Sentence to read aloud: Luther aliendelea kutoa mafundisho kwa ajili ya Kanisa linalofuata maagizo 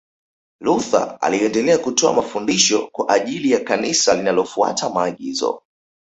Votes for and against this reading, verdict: 2, 0, accepted